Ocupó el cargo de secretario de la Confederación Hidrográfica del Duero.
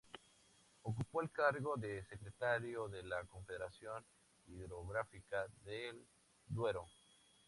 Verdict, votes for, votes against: accepted, 2, 0